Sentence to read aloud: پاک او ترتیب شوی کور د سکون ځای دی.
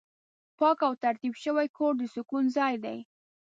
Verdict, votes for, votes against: accepted, 2, 0